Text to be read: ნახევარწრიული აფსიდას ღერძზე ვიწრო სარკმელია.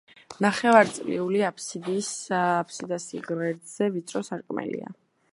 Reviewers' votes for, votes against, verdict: 2, 0, accepted